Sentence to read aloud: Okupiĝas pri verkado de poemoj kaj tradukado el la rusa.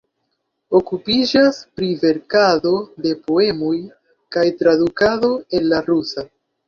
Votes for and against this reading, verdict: 2, 0, accepted